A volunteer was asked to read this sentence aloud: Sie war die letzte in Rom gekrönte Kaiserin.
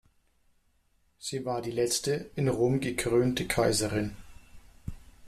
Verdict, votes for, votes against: accepted, 2, 0